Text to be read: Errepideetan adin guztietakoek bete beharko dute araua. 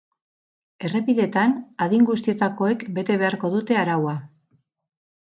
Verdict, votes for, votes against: accepted, 4, 0